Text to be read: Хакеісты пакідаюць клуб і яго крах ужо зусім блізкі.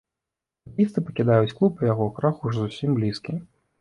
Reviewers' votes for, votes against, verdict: 0, 2, rejected